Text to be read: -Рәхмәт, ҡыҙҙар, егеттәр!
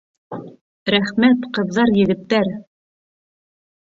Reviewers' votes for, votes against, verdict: 2, 1, accepted